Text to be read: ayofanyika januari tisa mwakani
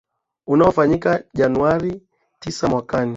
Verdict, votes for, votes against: accepted, 2, 0